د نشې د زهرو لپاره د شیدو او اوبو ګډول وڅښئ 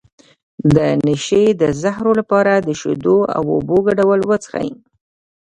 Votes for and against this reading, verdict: 2, 0, accepted